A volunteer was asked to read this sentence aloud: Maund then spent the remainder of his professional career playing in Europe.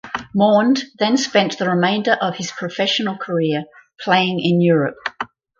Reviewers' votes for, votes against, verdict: 4, 0, accepted